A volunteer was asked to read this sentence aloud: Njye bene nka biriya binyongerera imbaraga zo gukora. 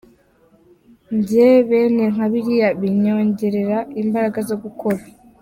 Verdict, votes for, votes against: accepted, 2, 0